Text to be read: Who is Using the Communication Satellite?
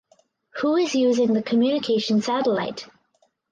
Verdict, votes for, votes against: accepted, 4, 0